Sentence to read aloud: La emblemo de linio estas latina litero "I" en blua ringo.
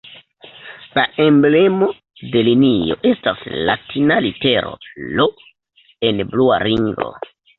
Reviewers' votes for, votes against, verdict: 1, 2, rejected